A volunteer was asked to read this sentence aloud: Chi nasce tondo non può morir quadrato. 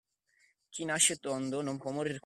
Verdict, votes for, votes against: rejected, 0, 2